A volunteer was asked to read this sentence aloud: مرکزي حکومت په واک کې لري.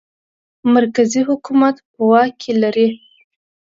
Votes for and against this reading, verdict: 3, 0, accepted